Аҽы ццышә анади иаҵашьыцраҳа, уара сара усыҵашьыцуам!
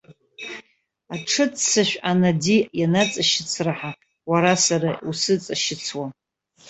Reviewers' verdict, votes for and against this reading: rejected, 0, 2